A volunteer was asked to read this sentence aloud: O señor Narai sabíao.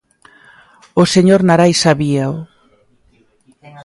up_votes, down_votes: 2, 0